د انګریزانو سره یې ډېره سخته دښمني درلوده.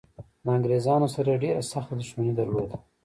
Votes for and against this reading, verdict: 1, 2, rejected